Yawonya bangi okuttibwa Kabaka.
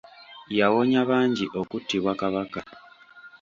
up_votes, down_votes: 2, 0